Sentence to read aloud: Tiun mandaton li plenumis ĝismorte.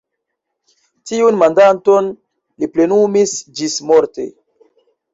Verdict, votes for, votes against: rejected, 2, 3